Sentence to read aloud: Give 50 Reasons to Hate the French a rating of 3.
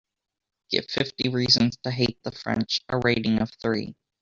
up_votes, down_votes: 0, 2